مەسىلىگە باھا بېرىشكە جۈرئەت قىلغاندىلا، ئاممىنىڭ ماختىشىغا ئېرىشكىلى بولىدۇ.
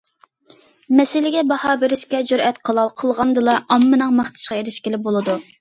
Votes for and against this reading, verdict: 1, 2, rejected